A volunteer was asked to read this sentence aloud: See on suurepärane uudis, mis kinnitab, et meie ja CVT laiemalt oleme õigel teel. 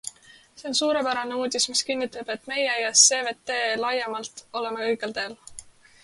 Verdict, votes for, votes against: accepted, 2, 0